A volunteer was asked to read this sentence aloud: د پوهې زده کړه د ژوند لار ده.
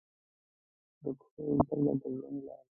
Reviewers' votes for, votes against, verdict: 0, 2, rejected